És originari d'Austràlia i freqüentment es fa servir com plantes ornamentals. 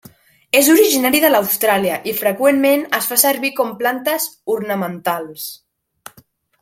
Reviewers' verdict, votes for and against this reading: rejected, 0, 2